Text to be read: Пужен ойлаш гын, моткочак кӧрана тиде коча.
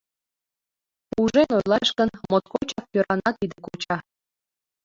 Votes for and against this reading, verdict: 0, 2, rejected